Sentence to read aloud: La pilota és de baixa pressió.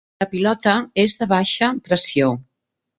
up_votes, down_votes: 0, 6